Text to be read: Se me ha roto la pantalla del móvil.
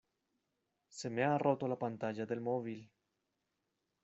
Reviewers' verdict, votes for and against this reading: accepted, 2, 0